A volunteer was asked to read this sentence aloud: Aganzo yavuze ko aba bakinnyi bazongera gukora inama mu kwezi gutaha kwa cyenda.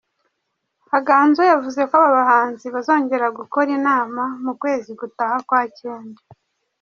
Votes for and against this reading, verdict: 1, 2, rejected